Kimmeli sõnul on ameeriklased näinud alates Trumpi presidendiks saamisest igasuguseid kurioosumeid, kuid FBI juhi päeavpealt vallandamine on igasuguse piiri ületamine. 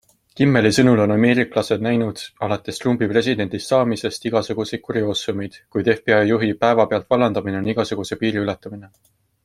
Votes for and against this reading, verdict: 2, 0, accepted